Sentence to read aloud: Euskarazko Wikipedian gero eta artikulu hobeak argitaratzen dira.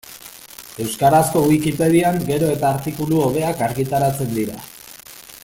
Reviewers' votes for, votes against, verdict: 1, 2, rejected